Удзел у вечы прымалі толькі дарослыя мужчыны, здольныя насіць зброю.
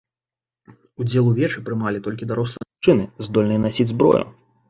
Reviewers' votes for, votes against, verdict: 0, 2, rejected